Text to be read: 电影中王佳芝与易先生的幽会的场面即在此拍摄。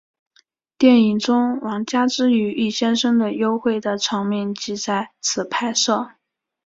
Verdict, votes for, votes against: accepted, 2, 0